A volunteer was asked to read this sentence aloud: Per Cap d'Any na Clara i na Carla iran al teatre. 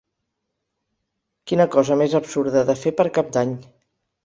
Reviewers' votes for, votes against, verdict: 0, 4, rejected